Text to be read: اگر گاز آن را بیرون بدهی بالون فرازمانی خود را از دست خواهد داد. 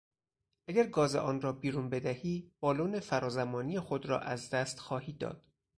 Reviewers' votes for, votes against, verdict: 0, 2, rejected